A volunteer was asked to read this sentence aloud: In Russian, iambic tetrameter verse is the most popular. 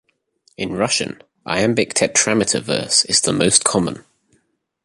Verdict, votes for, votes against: rejected, 0, 2